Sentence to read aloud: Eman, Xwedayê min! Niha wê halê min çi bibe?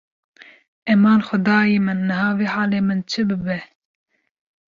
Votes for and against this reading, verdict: 2, 0, accepted